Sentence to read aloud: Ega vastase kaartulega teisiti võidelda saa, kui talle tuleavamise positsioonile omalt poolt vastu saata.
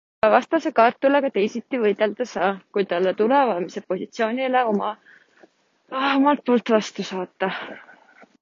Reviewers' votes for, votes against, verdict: 0, 2, rejected